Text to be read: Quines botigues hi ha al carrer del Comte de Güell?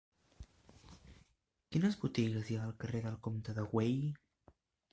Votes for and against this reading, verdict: 1, 2, rejected